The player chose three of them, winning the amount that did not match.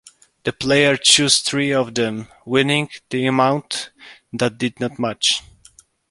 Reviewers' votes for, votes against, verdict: 2, 1, accepted